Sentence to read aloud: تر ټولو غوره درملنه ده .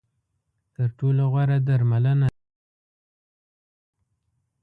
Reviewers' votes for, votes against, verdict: 0, 2, rejected